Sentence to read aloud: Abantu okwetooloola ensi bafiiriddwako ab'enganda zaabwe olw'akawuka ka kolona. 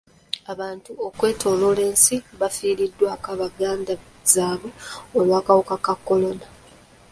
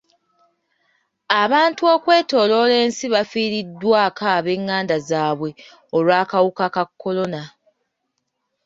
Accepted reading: second